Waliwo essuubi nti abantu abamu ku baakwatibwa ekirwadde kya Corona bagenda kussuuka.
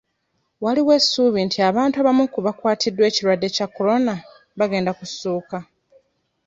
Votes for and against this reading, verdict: 1, 2, rejected